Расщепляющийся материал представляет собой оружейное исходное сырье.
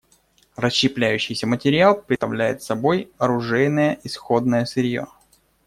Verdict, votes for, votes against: rejected, 1, 2